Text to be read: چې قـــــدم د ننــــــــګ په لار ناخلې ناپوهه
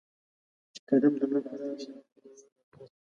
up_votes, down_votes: 0, 2